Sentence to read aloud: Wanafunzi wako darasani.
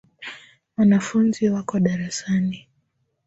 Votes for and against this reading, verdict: 3, 1, accepted